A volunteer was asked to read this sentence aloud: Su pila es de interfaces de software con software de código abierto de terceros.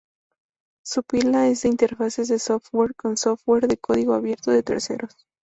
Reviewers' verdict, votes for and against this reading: accepted, 2, 0